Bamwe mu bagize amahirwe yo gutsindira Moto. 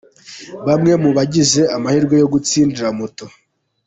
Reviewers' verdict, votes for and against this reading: accepted, 2, 1